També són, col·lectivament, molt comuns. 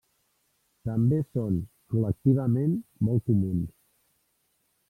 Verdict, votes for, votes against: rejected, 0, 2